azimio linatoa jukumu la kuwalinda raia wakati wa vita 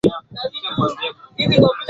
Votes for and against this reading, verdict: 1, 2, rejected